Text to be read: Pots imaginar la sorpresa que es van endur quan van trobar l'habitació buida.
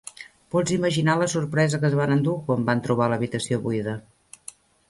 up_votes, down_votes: 3, 0